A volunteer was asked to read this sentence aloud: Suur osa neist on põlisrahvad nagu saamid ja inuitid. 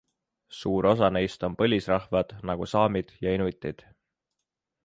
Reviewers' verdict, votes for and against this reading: accepted, 2, 0